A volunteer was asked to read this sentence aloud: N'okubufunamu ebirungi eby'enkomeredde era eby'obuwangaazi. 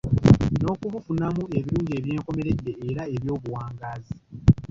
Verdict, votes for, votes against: rejected, 1, 2